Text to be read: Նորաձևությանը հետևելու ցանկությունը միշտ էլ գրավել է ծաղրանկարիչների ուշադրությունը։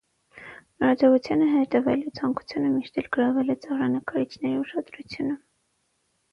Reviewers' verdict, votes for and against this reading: accepted, 6, 0